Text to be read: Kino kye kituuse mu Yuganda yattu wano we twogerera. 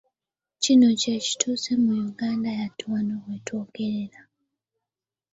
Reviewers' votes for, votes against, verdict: 0, 2, rejected